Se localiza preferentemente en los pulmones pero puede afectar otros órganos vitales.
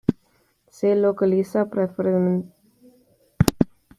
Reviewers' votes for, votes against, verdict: 0, 2, rejected